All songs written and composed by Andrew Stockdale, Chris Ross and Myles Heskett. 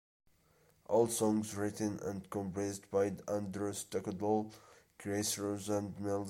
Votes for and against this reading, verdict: 1, 2, rejected